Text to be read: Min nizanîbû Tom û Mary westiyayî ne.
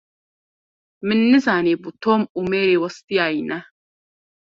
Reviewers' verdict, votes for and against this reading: accepted, 2, 0